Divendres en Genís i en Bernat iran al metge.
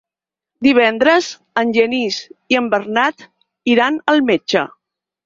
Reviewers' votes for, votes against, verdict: 6, 0, accepted